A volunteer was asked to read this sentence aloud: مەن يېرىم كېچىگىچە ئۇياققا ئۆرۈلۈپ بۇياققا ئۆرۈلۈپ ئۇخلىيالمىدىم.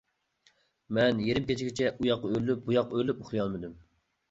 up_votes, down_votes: 2, 1